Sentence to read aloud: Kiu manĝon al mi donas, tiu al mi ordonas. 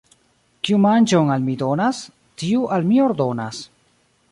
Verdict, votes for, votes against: accepted, 2, 0